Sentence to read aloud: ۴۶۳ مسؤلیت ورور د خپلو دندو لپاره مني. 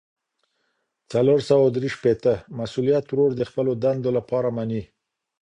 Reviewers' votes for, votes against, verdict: 0, 2, rejected